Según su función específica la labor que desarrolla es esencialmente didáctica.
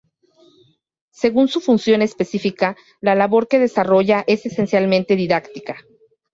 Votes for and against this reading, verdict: 2, 0, accepted